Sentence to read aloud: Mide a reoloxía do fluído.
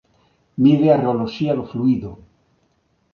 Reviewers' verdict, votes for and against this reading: accepted, 2, 0